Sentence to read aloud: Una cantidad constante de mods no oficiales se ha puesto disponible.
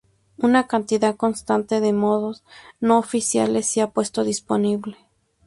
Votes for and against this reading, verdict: 2, 0, accepted